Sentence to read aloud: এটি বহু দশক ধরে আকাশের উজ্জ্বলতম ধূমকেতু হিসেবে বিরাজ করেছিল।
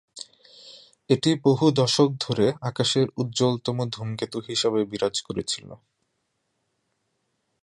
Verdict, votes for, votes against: accepted, 3, 0